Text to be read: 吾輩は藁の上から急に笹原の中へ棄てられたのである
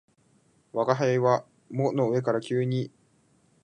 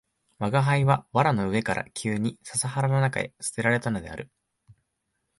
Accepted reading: second